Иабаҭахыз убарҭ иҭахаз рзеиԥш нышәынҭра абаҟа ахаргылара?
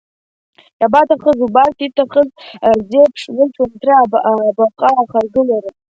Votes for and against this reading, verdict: 1, 2, rejected